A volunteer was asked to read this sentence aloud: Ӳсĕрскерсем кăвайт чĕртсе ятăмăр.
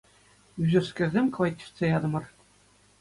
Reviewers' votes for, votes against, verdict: 2, 0, accepted